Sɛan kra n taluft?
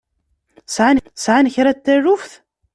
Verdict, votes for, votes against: rejected, 0, 2